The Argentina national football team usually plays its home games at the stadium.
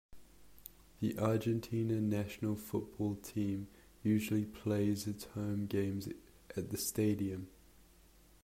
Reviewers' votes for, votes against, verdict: 0, 2, rejected